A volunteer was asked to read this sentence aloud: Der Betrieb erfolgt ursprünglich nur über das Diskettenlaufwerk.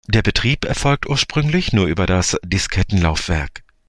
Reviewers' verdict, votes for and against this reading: accepted, 2, 0